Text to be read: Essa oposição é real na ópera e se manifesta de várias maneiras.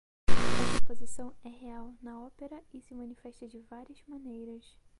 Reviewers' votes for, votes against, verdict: 2, 4, rejected